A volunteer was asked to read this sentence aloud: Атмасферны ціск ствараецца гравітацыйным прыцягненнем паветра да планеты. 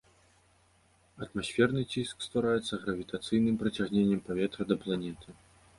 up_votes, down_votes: 2, 0